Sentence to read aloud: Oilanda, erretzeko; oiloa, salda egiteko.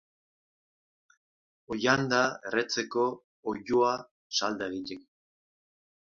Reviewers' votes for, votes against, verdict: 2, 1, accepted